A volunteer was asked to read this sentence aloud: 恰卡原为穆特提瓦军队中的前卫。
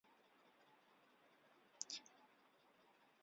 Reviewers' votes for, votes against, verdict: 0, 2, rejected